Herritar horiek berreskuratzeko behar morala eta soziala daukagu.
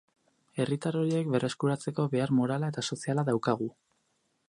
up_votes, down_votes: 2, 2